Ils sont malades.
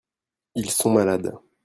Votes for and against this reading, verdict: 2, 0, accepted